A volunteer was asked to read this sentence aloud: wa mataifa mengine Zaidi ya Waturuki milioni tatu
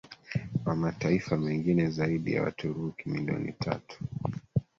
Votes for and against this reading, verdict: 3, 1, accepted